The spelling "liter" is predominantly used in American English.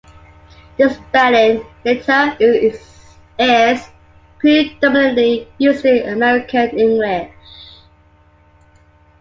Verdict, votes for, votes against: accepted, 2, 1